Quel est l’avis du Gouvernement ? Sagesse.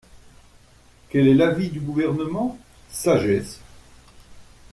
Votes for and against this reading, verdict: 2, 0, accepted